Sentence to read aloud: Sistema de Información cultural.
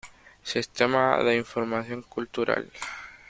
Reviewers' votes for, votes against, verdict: 2, 0, accepted